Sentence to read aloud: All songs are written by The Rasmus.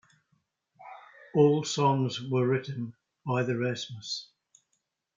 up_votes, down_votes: 1, 2